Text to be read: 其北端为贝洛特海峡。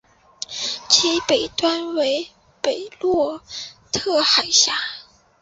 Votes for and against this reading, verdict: 3, 0, accepted